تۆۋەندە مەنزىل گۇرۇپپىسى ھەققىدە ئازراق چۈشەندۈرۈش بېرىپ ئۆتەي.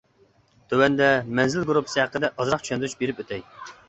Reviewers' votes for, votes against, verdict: 2, 0, accepted